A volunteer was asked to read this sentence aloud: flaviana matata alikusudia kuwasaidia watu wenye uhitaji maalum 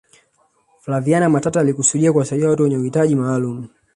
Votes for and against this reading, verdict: 1, 2, rejected